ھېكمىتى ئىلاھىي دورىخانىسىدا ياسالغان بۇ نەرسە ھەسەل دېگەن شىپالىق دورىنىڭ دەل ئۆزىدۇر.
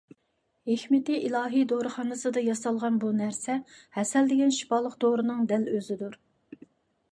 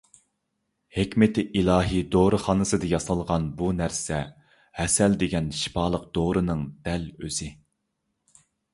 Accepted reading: first